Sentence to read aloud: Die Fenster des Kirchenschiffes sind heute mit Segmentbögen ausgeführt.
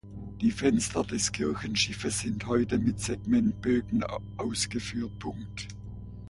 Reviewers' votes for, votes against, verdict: 0, 2, rejected